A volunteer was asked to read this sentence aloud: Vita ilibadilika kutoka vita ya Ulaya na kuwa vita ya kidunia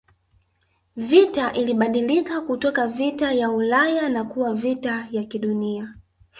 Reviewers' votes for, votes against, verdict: 2, 0, accepted